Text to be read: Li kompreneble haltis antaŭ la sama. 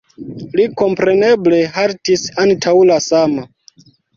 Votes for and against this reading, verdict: 2, 1, accepted